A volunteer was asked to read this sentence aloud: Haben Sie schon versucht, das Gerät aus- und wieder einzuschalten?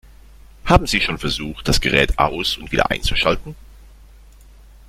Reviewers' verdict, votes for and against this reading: rejected, 1, 2